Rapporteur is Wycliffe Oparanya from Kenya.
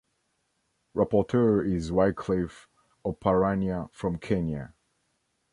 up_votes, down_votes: 2, 1